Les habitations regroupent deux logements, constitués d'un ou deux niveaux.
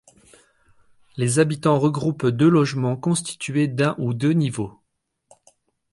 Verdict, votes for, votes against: rejected, 0, 2